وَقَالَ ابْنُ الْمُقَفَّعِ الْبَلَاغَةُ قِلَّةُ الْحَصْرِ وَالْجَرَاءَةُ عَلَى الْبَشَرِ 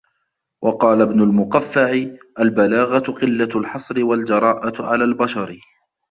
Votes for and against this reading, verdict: 2, 1, accepted